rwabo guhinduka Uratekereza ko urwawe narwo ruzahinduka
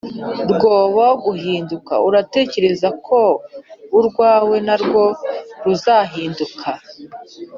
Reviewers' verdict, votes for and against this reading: rejected, 1, 2